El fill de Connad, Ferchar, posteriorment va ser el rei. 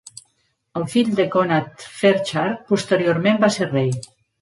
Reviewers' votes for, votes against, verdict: 0, 2, rejected